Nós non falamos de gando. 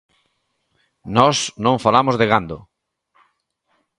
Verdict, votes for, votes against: accepted, 2, 0